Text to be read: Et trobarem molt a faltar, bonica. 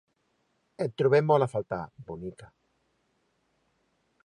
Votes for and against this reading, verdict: 0, 3, rejected